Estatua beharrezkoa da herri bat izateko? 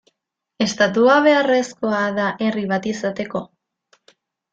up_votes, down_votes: 2, 0